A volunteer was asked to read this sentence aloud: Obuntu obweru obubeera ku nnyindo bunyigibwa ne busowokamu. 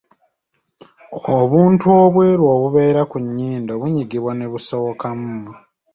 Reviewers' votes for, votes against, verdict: 2, 0, accepted